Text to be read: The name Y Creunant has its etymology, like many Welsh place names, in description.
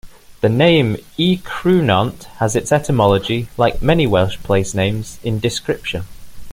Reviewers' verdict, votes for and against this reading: accepted, 2, 0